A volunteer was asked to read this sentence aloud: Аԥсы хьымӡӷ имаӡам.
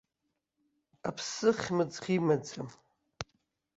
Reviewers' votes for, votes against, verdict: 3, 0, accepted